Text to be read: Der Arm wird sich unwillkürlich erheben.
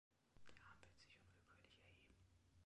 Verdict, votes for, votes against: rejected, 0, 2